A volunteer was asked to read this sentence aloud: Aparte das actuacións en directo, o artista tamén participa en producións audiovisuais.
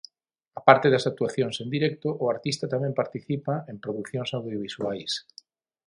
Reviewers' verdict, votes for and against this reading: accepted, 6, 0